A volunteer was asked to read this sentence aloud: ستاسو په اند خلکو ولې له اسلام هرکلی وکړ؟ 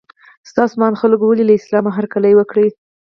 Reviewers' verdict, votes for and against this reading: accepted, 4, 0